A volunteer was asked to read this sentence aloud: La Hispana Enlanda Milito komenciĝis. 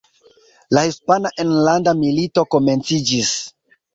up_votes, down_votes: 1, 2